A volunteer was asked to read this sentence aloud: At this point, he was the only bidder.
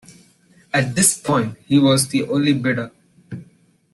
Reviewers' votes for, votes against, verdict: 2, 0, accepted